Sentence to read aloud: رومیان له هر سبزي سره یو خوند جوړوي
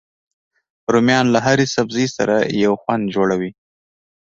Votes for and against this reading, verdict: 1, 2, rejected